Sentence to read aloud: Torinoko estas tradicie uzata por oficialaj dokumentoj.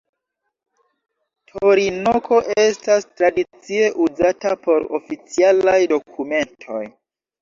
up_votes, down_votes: 1, 2